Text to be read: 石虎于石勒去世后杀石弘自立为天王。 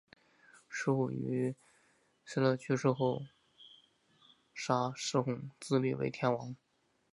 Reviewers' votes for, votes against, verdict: 0, 2, rejected